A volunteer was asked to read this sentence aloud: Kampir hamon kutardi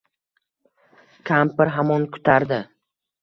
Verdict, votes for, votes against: accepted, 2, 0